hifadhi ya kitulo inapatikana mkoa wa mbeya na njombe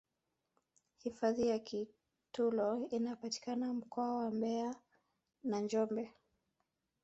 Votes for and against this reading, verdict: 1, 3, rejected